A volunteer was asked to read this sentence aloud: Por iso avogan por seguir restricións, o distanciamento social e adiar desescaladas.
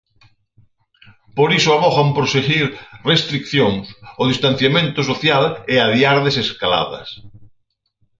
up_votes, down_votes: 0, 4